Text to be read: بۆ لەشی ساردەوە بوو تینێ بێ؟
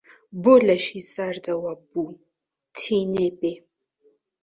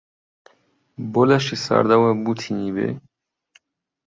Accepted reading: first